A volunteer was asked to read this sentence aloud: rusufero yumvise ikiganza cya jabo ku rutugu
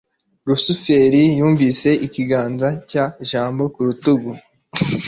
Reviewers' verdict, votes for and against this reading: rejected, 1, 2